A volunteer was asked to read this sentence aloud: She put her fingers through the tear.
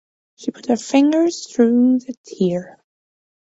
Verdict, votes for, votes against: accepted, 3, 0